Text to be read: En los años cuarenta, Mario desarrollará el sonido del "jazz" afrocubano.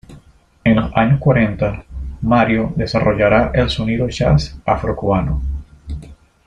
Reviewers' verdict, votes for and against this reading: rejected, 0, 2